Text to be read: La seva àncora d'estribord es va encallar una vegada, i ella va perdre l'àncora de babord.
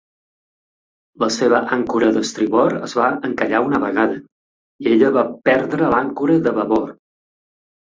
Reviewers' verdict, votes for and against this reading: rejected, 0, 2